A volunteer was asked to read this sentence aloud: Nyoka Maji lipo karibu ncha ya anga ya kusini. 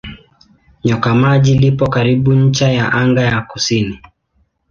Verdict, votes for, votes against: accepted, 2, 0